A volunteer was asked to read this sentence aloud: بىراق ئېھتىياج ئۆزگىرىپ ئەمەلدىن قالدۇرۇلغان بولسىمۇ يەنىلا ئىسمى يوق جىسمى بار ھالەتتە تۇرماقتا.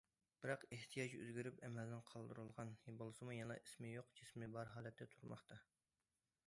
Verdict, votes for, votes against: accepted, 2, 1